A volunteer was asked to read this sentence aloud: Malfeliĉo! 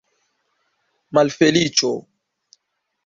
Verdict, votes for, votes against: accepted, 2, 0